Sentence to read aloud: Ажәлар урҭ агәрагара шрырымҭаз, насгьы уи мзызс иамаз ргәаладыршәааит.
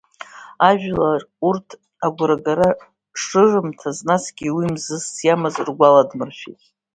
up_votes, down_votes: 1, 2